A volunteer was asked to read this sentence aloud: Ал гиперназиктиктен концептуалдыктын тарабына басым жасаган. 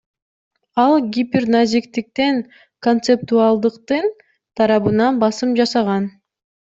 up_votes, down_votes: 2, 0